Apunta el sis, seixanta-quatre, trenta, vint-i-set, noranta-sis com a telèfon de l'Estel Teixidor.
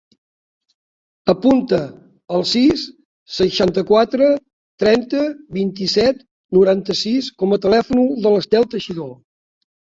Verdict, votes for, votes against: accepted, 2, 1